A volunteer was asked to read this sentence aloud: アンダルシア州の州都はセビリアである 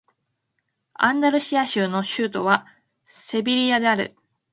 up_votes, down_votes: 2, 0